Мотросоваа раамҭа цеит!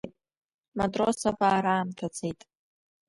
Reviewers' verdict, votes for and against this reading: rejected, 0, 2